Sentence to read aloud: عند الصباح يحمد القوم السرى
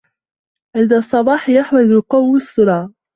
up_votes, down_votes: 0, 2